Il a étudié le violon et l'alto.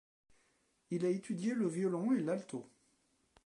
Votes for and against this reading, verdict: 0, 2, rejected